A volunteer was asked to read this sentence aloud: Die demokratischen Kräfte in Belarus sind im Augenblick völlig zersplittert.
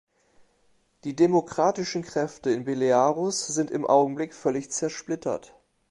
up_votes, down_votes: 0, 2